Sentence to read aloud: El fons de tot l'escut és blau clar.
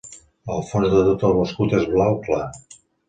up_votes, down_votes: 0, 2